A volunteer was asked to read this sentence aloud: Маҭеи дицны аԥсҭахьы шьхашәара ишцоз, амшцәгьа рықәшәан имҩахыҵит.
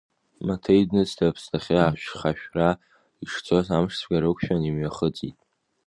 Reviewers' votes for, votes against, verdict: 1, 2, rejected